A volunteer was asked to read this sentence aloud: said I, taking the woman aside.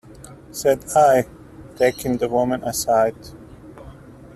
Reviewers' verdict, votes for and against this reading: accepted, 2, 0